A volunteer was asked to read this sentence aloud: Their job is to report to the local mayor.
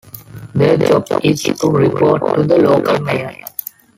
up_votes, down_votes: 0, 2